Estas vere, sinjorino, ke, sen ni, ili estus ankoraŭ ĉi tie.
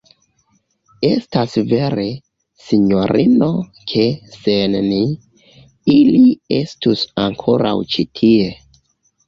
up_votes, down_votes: 0, 2